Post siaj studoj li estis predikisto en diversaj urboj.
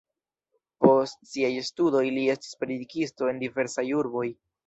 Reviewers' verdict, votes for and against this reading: accepted, 2, 0